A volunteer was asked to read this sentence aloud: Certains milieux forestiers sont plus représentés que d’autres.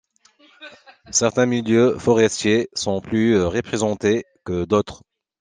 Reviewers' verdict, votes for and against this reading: accepted, 2, 0